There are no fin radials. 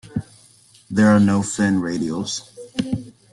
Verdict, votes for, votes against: accepted, 2, 0